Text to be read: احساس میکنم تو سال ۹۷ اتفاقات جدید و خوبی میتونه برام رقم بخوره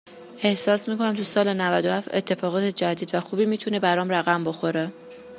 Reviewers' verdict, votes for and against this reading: rejected, 0, 2